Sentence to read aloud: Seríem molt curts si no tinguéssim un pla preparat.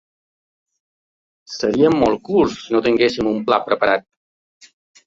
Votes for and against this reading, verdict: 2, 0, accepted